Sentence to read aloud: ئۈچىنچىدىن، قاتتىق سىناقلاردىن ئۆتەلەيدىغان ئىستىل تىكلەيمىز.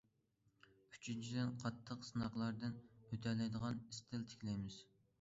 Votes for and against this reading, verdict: 2, 0, accepted